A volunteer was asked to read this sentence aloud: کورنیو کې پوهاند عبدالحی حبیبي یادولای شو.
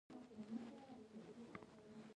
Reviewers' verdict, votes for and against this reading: rejected, 0, 2